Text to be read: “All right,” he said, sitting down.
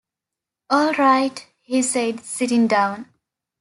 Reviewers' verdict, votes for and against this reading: accepted, 2, 0